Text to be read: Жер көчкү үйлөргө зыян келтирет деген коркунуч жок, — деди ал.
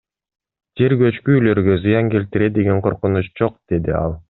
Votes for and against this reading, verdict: 2, 1, accepted